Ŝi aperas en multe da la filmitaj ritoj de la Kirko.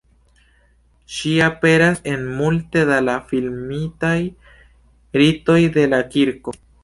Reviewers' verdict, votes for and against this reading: accepted, 2, 0